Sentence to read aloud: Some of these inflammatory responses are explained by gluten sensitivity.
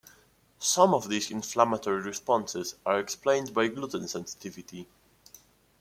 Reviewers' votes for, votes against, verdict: 2, 0, accepted